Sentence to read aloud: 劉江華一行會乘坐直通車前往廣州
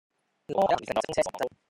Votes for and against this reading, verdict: 0, 2, rejected